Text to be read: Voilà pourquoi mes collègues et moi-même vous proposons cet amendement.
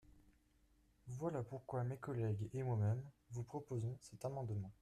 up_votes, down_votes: 0, 2